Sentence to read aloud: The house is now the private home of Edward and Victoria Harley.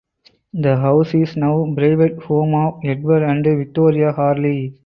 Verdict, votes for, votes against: rejected, 0, 2